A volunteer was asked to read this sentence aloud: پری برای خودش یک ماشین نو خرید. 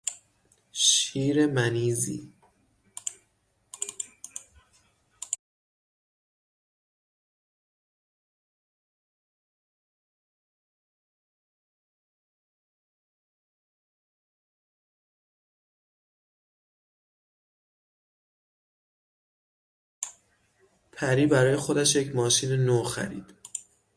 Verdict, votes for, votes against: rejected, 0, 6